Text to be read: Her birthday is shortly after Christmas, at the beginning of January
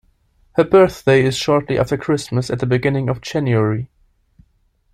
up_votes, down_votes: 2, 0